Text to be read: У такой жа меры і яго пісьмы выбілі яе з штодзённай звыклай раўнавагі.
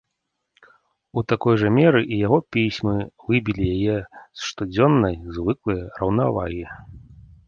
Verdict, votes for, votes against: accepted, 2, 0